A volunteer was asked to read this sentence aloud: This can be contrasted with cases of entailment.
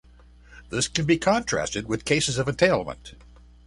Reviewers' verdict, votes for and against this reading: accepted, 2, 0